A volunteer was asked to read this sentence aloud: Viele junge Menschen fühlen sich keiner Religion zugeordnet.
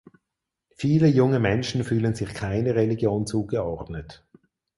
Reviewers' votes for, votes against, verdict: 4, 0, accepted